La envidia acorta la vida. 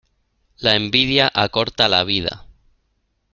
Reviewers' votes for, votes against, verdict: 2, 1, accepted